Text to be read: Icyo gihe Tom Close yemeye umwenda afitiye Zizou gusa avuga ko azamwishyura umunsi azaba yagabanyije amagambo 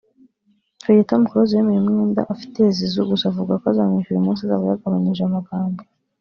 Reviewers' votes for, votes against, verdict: 3, 0, accepted